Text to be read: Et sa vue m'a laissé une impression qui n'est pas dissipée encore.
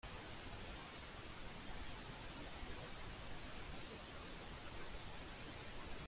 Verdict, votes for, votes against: rejected, 0, 2